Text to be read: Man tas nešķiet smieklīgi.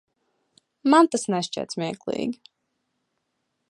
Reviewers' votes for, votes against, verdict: 2, 0, accepted